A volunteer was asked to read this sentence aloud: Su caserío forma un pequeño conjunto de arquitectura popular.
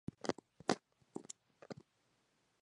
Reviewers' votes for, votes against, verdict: 0, 2, rejected